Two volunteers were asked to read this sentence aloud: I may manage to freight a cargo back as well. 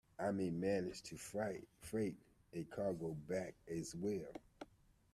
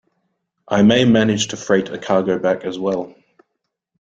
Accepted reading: second